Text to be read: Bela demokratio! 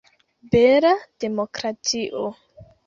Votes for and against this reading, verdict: 2, 0, accepted